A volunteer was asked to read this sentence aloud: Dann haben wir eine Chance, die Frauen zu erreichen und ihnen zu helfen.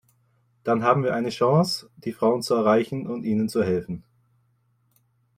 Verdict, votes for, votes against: accepted, 2, 0